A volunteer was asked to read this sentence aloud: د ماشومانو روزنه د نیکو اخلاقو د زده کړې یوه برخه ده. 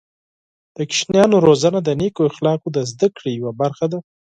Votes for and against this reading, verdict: 0, 6, rejected